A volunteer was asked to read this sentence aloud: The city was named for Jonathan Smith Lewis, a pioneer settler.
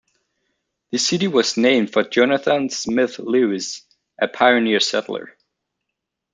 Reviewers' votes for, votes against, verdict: 2, 1, accepted